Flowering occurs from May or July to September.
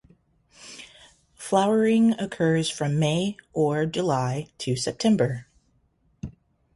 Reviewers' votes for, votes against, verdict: 2, 2, rejected